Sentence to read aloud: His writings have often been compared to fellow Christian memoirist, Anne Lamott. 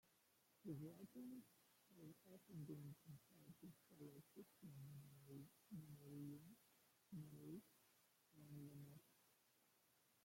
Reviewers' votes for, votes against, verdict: 0, 2, rejected